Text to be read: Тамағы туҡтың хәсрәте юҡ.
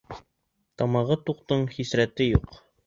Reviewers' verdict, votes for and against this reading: rejected, 1, 3